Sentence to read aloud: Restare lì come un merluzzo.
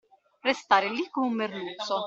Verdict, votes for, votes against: rejected, 1, 2